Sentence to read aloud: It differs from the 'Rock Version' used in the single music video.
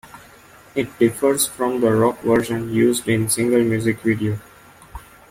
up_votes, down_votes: 1, 2